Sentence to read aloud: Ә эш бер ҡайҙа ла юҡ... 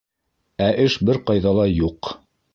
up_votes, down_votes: 2, 0